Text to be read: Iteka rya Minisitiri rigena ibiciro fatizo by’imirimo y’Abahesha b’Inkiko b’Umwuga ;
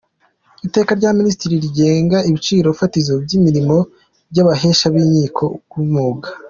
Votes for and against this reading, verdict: 2, 0, accepted